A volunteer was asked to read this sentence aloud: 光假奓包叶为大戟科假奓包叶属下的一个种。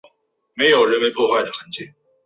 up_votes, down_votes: 3, 4